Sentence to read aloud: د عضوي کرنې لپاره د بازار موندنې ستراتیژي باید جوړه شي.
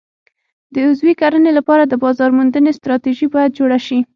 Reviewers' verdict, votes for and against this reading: accepted, 6, 0